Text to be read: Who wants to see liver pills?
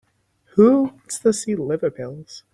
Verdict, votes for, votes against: accepted, 4, 2